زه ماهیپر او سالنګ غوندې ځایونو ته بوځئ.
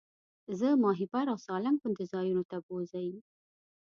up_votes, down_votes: 2, 1